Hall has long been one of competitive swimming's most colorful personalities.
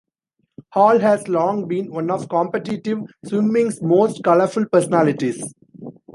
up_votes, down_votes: 1, 2